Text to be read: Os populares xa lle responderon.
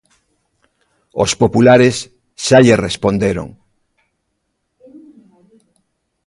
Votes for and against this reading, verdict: 1, 2, rejected